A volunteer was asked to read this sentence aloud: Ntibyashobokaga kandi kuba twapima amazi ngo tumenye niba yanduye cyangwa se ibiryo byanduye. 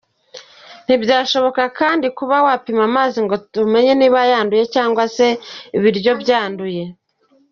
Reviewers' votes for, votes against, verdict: 2, 1, accepted